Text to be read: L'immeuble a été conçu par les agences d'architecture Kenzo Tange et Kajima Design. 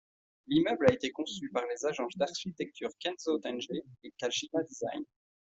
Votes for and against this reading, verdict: 2, 0, accepted